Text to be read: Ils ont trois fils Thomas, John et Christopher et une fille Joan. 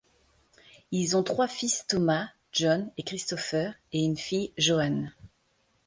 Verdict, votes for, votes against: accepted, 2, 0